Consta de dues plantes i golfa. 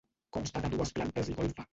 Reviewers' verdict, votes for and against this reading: rejected, 1, 2